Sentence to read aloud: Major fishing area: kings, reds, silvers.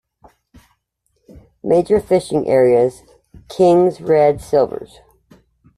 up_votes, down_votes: 1, 2